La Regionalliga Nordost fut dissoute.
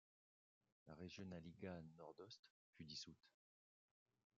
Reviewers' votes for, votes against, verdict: 0, 2, rejected